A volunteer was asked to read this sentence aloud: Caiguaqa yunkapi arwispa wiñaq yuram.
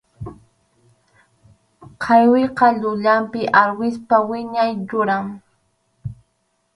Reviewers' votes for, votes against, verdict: 0, 4, rejected